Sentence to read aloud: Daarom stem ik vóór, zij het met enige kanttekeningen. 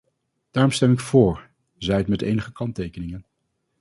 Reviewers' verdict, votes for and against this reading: accepted, 2, 0